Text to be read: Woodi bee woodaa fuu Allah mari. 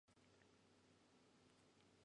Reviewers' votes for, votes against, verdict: 0, 2, rejected